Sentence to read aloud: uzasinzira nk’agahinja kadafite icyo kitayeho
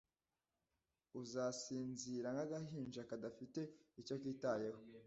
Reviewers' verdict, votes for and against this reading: accepted, 2, 0